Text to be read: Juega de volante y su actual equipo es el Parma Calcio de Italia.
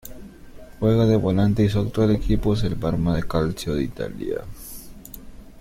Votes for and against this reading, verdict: 0, 2, rejected